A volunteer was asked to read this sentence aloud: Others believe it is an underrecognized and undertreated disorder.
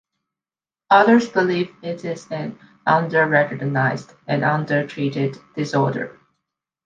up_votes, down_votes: 2, 0